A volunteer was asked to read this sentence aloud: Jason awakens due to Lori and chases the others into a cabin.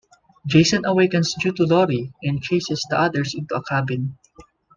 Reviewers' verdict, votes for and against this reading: accepted, 2, 0